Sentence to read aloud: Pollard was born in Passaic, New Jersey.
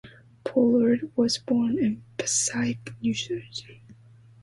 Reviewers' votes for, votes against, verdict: 2, 0, accepted